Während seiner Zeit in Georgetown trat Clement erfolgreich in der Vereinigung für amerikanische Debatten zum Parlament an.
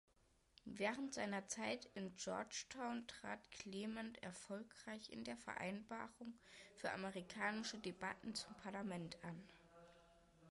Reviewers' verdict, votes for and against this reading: rejected, 0, 2